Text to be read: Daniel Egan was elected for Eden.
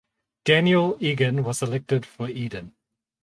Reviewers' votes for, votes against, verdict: 4, 0, accepted